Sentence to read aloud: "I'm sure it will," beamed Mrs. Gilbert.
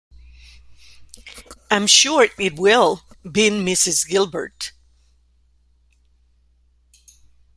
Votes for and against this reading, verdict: 1, 2, rejected